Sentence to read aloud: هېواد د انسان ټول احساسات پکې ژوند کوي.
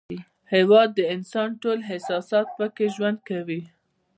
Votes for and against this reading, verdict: 1, 2, rejected